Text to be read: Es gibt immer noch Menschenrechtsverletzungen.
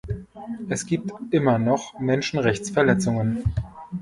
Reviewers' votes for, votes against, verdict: 2, 0, accepted